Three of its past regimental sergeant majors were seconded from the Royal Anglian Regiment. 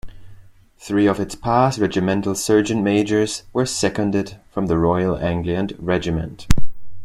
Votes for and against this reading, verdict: 2, 0, accepted